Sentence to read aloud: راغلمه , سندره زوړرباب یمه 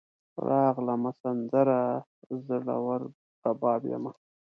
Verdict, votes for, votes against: rejected, 0, 2